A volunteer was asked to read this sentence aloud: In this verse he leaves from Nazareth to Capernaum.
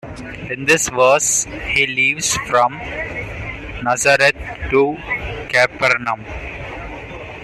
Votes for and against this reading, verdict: 2, 1, accepted